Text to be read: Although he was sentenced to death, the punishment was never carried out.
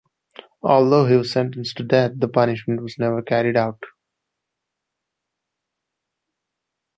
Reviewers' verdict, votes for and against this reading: accepted, 2, 0